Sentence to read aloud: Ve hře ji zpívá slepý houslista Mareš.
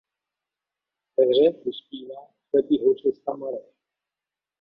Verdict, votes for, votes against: rejected, 0, 2